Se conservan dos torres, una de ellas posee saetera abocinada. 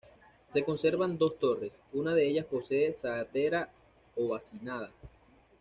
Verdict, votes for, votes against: rejected, 1, 2